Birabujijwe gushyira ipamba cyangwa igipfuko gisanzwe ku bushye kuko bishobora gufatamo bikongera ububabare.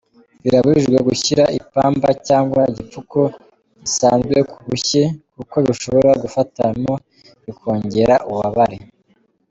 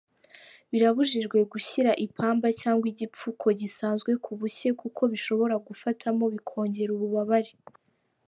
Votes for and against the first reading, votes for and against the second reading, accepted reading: 2, 0, 1, 2, first